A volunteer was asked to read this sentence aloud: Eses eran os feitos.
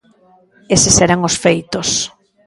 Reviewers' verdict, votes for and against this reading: accepted, 2, 0